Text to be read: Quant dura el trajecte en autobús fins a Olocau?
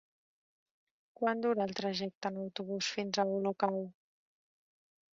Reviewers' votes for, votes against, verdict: 2, 1, accepted